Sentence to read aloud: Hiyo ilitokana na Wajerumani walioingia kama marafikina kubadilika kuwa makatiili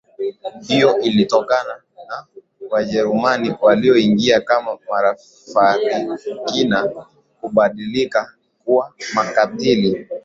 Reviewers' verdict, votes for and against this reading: accepted, 3, 0